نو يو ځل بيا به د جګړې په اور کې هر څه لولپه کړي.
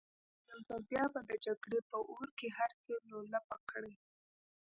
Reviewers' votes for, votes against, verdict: 2, 0, accepted